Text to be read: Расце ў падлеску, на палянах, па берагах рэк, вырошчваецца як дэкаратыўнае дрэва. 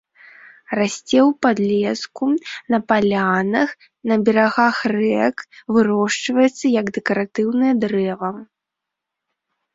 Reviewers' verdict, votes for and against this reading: rejected, 1, 2